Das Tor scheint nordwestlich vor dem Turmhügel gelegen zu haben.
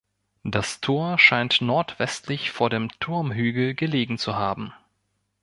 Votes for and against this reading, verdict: 1, 2, rejected